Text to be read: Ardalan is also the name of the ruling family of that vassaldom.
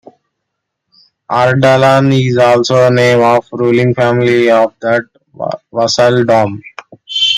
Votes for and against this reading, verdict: 0, 2, rejected